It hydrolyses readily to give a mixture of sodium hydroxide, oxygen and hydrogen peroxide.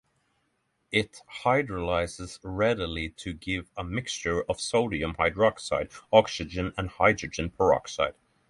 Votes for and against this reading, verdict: 6, 0, accepted